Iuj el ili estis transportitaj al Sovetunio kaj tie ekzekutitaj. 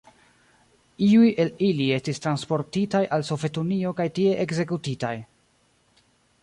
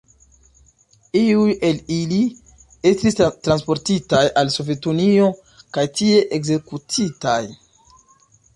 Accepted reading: second